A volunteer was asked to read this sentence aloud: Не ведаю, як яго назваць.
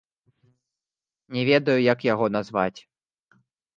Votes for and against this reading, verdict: 2, 1, accepted